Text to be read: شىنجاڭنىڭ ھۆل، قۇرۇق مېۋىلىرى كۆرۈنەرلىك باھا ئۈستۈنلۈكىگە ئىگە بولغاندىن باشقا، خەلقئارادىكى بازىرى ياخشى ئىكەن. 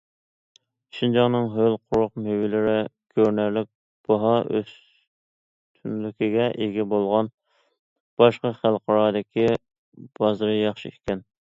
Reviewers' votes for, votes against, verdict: 0, 2, rejected